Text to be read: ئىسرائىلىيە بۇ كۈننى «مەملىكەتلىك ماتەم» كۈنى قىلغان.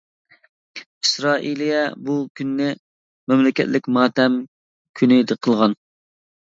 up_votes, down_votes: 1, 2